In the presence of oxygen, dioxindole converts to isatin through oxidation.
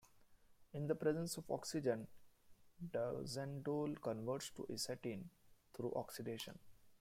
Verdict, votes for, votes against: rejected, 1, 2